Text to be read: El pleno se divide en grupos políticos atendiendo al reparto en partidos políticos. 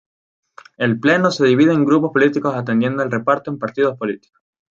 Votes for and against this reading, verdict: 4, 0, accepted